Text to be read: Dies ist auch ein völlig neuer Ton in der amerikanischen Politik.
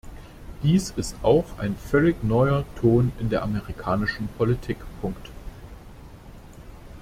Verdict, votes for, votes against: rejected, 1, 2